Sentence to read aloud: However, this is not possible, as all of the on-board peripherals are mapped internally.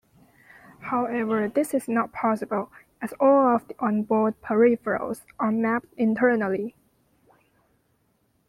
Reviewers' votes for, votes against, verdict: 0, 2, rejected